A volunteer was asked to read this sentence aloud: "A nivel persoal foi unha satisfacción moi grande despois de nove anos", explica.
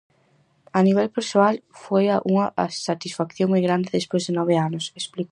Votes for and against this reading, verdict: 0, 4, rejected